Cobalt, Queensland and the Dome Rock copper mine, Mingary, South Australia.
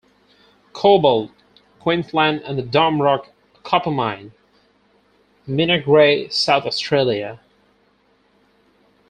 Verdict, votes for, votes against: accepted, 4, 0